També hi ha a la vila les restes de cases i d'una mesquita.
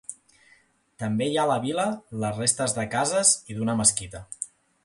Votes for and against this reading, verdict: 2, 0, accepted